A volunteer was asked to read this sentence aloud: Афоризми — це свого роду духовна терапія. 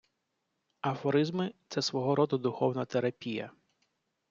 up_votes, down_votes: 2, 0